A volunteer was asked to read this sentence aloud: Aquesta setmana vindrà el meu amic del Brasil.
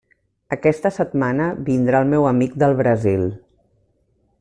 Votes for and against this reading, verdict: 3, 0, accepted